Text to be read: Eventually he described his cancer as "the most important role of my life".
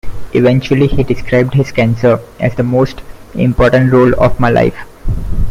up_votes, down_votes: 2, 0